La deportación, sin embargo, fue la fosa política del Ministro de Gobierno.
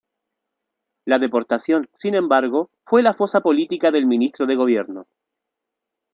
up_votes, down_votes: 2, 0